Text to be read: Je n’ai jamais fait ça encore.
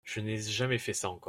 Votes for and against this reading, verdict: 0, 2, rejected